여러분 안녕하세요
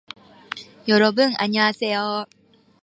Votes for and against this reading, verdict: 2, 0, accepted